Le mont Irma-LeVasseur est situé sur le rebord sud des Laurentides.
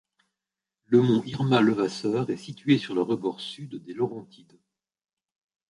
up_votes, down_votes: 2, 0